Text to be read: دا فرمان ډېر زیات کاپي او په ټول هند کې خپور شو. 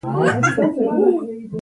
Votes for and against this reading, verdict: 0, 2, rejected